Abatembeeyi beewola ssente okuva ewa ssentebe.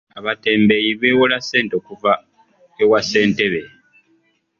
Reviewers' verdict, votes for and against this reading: accepted, 2, 0